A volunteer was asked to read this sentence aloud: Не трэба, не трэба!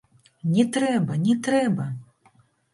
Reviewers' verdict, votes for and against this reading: rejected, 1, 2